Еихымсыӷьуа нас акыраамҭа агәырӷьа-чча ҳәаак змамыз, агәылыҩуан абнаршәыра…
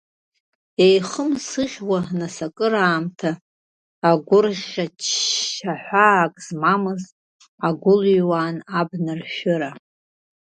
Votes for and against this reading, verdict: 1, 2, rejected